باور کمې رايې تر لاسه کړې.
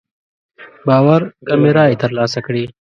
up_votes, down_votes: 2, 0